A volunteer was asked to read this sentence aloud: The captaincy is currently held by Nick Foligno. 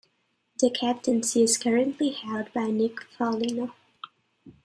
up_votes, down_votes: 2, 1